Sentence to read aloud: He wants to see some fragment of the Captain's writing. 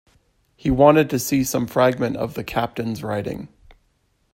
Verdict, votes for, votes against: rejected, 0, 2